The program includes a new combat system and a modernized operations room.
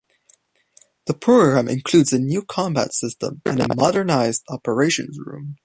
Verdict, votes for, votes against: accepted, 2, 0